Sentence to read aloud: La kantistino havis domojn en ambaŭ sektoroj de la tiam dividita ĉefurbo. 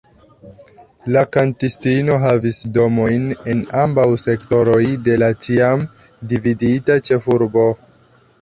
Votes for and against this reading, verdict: 2, 1, accepted